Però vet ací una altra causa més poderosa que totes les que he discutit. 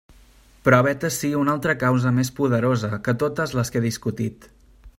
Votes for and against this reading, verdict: 2, 0, accepted